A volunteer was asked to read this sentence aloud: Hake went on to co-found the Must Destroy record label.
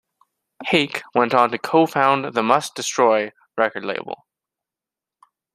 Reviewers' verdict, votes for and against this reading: accepted, 2, 0